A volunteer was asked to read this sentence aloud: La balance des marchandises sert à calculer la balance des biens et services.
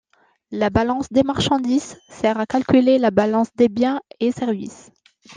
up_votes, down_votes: 2, 0